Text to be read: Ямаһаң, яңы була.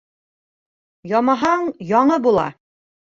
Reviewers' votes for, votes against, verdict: 2, 1, accepted